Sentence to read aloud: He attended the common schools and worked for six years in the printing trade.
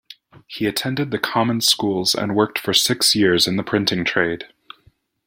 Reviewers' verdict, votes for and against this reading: accepted, 2, 0